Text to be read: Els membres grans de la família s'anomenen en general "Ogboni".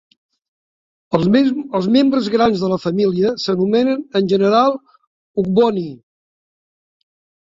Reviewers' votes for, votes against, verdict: 0, 2, rejected